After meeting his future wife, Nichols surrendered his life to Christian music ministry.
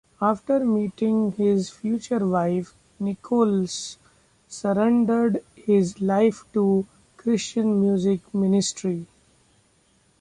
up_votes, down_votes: 2, 0